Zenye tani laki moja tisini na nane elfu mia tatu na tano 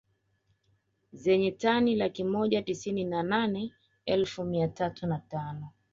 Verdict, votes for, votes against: accepted, 2, 0